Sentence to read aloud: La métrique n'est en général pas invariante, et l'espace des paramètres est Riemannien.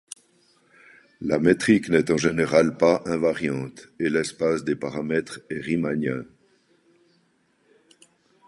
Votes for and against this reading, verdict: 2, 0, accepted